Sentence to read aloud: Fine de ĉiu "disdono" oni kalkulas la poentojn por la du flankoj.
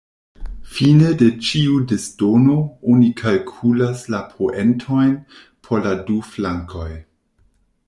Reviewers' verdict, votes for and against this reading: accepted, 2, 0